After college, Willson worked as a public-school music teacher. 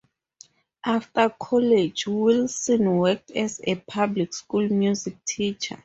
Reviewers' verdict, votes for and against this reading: accepted, 4, 0